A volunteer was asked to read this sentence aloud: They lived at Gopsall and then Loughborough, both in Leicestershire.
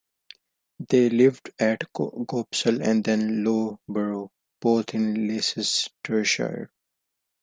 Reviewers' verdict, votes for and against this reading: rejected, 0, 2